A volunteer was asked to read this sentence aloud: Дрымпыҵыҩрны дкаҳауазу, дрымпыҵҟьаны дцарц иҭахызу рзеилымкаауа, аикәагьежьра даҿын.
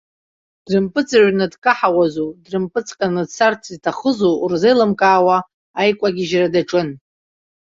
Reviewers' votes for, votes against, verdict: 2, 0, accepted